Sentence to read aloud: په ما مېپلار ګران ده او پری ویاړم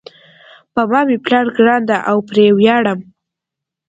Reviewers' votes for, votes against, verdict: 2, 0, accepted